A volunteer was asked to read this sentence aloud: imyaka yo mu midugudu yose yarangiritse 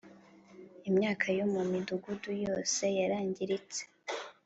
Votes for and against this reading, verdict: 3, 0, accepted